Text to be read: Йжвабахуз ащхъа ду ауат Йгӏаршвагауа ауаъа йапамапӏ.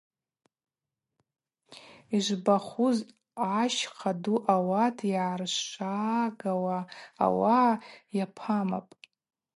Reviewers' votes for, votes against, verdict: 0, 2, rejected